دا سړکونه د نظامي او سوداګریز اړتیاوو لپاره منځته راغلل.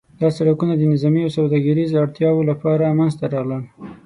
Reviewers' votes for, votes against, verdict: 6, 0, accepted